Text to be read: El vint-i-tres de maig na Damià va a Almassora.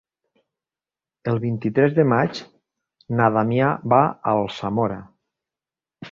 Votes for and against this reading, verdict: 0, 2, rejected